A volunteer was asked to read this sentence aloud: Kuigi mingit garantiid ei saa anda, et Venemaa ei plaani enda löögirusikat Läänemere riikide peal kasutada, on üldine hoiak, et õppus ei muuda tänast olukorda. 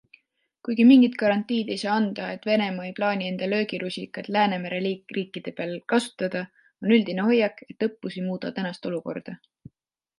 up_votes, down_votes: 2, 1